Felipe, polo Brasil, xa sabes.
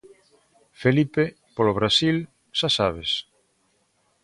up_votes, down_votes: 2, 0